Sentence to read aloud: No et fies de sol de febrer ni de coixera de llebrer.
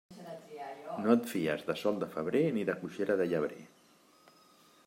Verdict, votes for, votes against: accepted, 2, 0